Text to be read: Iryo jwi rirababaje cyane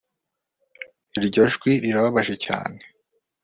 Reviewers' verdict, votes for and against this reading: accepted, 2, 0